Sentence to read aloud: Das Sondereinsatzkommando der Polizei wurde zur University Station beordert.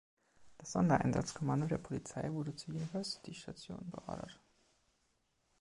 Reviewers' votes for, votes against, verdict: 2, 1, accepted